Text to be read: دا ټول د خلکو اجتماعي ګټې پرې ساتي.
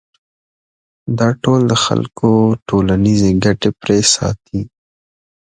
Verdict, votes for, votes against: accepted, 2, 1